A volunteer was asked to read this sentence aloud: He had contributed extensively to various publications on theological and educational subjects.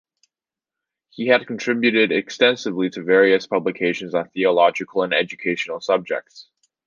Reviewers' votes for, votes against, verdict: 2, 0, accepted